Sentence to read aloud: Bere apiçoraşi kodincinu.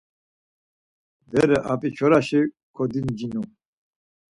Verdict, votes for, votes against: accepted, 4, 0